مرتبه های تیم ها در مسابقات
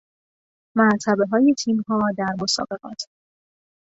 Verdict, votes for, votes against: accepted, 2, 0